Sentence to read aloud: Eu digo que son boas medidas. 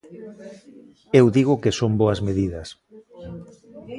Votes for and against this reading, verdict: 1, 2, rejected